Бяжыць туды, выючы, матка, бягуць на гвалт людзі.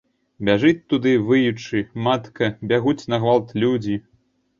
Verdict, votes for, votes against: accepted, 2, 0